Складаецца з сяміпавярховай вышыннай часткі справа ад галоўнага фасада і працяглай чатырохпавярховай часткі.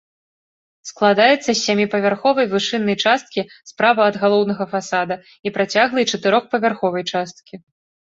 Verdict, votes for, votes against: accepted, 2, 0